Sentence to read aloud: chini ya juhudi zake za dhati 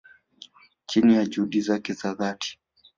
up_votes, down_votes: 1, 2